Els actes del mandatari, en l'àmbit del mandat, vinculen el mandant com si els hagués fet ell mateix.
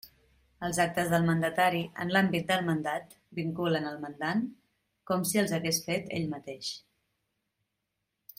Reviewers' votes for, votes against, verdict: 2, 0, accepted